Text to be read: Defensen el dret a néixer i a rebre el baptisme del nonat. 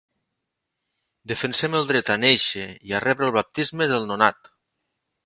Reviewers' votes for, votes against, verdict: 0, 2, rejected